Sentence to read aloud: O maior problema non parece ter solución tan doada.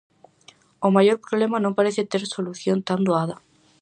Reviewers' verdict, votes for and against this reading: accepted, 4, 0